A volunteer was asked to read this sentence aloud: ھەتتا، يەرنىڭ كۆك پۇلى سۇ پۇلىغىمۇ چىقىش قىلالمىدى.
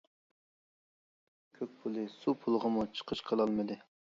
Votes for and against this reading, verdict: 0, 2, rejected